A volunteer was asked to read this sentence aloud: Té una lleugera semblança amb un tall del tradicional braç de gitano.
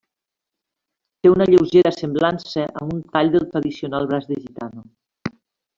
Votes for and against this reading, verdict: 3, 0, accepted